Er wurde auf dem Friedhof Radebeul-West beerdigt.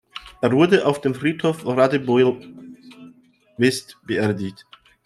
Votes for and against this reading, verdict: 1, 2, rejected